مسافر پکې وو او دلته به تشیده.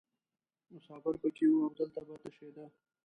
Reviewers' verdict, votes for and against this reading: rejected, 0, 2